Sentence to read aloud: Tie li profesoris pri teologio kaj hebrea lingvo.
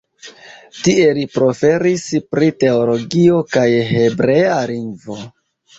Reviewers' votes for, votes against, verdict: 0, 2, rejected